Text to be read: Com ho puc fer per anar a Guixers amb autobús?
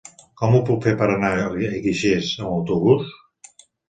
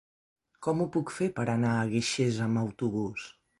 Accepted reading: second